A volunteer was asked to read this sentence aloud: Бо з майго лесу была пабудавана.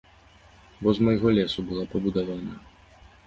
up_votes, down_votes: 2, 0